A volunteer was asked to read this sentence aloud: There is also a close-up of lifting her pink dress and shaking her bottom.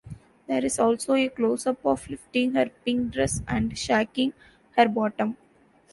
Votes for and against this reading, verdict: 2, 0, accepted